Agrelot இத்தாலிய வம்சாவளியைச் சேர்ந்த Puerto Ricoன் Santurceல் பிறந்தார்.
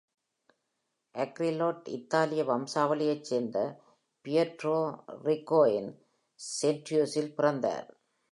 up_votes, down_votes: 3, 0